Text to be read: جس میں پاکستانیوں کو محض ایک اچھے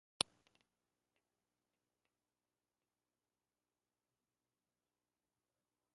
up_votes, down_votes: 0, 2